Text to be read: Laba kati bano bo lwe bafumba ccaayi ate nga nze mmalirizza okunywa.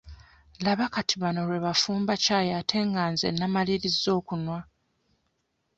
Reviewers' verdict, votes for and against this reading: rejected, 1, 2